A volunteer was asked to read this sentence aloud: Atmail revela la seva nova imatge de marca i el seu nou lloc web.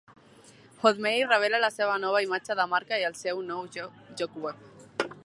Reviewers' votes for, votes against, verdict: 0, 2, rejected